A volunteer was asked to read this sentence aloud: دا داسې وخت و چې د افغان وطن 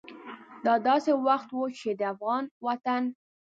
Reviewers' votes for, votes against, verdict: 2, 0, accepted